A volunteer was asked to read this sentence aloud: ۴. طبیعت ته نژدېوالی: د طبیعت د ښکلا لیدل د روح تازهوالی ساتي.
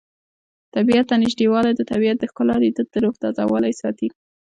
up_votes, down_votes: 0, 2